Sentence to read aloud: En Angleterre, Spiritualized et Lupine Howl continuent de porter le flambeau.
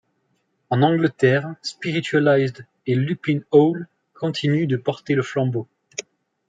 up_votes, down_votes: 2, 0